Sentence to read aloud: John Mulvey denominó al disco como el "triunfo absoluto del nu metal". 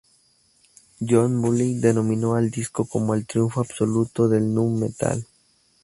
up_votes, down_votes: 2, 2